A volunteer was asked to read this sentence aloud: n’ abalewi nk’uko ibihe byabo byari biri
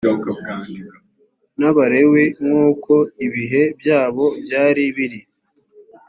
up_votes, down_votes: 2, 0